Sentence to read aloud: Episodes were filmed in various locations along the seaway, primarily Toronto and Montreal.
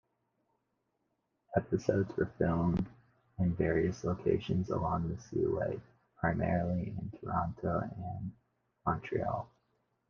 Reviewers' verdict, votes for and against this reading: accepted, 2, 0